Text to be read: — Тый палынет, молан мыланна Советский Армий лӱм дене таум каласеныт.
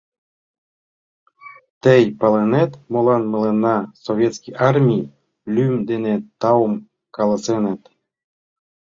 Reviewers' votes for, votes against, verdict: 2, 0, accepted